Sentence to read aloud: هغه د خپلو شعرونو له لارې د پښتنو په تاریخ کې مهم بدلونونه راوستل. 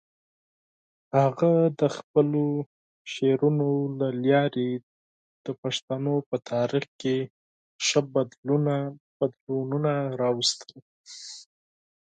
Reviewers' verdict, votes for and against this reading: rejected, 2, 4